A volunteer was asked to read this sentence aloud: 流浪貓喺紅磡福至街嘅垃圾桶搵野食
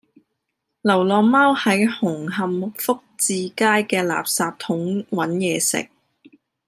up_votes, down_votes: 2, 0